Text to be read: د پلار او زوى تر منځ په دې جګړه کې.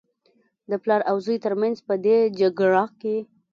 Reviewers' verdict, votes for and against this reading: accepted, 2, 0